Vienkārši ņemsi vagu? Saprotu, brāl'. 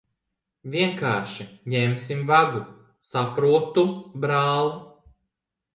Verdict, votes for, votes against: rejected, 0, 2